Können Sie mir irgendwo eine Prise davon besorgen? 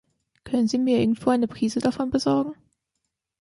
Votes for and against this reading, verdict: 2, 0, accepted